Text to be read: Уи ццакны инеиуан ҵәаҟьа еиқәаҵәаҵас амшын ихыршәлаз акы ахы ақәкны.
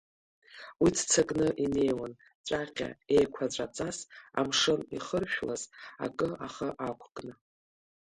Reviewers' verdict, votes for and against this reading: accepted, 2, 0